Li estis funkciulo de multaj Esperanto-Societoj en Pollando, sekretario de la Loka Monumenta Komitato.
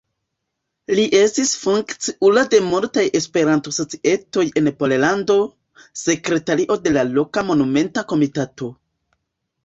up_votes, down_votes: 1, 2